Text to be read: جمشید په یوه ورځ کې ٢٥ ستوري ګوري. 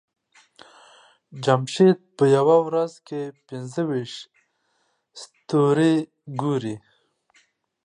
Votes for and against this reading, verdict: 0, 2, rejected